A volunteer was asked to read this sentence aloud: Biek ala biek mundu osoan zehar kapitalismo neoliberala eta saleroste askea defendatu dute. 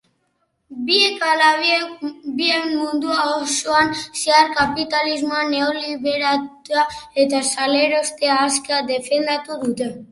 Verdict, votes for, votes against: rejected, 0, 3